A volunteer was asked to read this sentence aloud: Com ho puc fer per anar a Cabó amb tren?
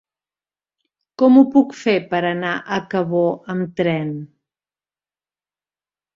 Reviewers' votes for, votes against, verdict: 3, 0, accepted